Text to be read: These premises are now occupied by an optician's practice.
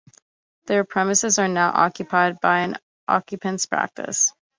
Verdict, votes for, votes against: rejected, 0, 2